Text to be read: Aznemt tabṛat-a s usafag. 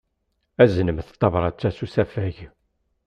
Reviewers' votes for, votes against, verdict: 2, 0, accepted